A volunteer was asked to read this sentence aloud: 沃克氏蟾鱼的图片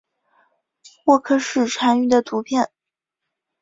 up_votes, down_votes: 2, 0